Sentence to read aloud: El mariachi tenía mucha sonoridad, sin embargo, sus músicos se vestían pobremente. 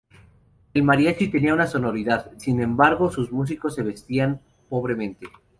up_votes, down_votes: 0, 2